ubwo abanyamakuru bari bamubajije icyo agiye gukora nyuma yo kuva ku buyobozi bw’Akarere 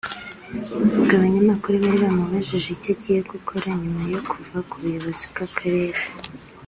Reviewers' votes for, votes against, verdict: 2, 0, accepted